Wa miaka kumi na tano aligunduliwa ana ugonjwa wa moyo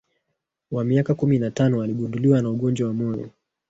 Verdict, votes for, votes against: accepted, 3, 2